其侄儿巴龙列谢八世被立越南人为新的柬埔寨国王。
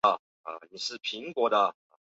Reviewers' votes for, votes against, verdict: 2, 6, rejected